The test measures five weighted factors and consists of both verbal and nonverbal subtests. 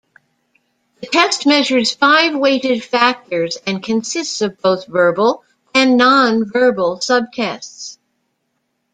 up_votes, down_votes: 2, 0